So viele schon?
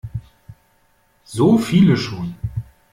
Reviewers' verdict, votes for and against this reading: accepted, 2, 0